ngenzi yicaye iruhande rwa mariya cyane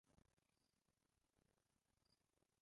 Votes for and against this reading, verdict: 0, 2, rejected